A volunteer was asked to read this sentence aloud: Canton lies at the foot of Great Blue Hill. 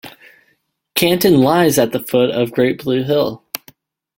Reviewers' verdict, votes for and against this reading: accepted, 2, 0